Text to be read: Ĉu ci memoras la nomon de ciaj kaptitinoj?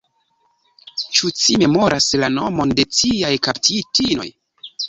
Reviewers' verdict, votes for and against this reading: rejected, 1, 2